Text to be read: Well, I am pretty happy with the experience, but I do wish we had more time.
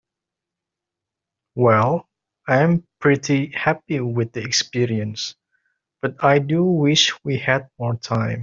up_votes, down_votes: 2, 0